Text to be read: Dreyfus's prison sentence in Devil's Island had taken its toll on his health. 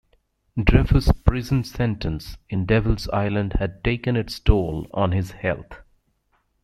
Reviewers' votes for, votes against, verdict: 1, 2, rejected